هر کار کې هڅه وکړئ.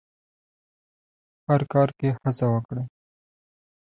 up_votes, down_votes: 2, 0